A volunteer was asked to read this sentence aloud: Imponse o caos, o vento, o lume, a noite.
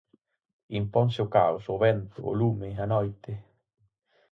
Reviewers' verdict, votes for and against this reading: accepted, 4, 0